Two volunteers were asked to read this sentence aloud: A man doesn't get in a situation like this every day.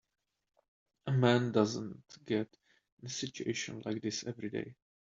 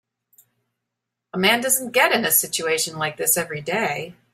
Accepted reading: second